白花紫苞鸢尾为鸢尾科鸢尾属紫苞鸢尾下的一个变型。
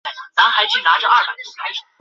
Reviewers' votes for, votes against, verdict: 4, 5, rejected